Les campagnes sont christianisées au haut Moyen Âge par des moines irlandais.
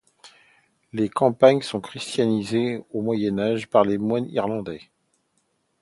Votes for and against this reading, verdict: 0, 2, rejected